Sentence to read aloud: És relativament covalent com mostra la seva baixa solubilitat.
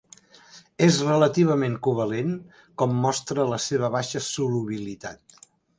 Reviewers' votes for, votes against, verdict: 3, 0, accepted